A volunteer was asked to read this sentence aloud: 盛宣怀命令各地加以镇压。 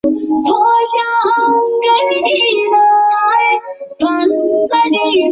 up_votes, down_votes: 0, 2